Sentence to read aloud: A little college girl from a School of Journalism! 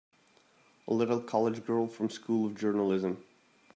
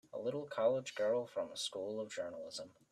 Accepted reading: second